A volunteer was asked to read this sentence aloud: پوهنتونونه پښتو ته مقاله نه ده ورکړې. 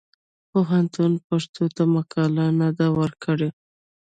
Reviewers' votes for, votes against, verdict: 0, 2, rejected